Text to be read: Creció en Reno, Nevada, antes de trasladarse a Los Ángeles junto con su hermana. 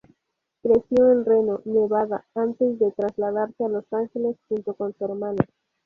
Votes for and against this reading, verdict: 0, 2, rejected